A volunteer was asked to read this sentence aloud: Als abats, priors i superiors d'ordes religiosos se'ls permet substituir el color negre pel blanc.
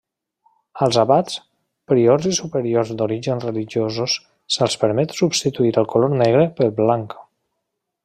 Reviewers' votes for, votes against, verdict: 0, 2, rejected